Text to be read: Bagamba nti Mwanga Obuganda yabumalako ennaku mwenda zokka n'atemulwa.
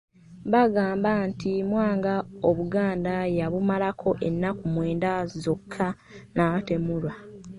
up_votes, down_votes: 2, 0